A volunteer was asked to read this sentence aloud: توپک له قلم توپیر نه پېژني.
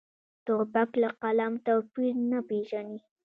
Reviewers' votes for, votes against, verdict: 0, 2, rejected